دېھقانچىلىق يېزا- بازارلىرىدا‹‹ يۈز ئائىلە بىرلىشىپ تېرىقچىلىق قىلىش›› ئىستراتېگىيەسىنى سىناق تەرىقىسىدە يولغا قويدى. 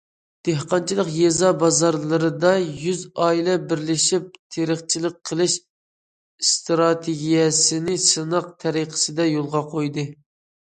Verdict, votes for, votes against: accepted, 2, 0